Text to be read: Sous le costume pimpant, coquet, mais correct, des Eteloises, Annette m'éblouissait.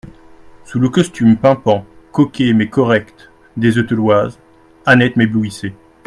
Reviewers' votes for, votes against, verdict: 2, 0, accepted